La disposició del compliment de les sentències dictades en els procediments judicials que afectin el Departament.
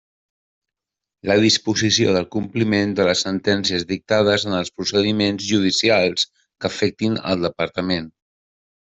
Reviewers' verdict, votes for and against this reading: accepted, 3, 0